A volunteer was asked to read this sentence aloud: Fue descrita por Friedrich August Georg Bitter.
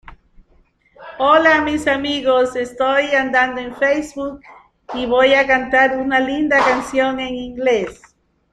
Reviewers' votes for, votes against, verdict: 0, 2, rejected